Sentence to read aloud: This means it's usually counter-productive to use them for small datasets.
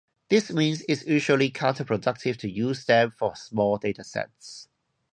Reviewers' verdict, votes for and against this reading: accepted, 2, 0